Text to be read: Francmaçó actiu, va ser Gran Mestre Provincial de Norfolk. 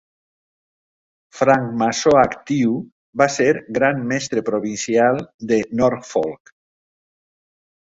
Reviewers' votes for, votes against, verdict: 2, 0, accepted